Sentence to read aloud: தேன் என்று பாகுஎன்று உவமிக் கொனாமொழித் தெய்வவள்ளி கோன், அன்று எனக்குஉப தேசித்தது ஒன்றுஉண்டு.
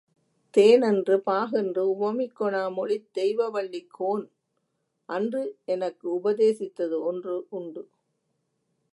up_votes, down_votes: 2, 0